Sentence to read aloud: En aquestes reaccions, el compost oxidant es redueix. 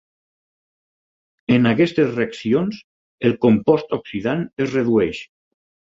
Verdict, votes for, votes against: accepted, 6, 0